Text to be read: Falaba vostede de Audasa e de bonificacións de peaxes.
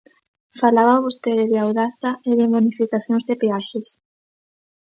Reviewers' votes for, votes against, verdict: 2, 0, accepted